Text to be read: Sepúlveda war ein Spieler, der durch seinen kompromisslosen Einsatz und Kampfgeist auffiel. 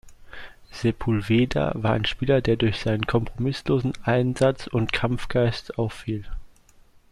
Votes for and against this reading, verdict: 2, 0, accepted